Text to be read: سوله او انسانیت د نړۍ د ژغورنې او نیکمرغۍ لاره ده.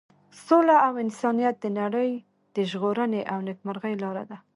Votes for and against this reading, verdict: 1, 2, rejected